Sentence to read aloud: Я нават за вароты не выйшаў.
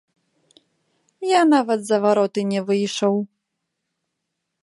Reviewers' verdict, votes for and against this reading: accepted, 2, 1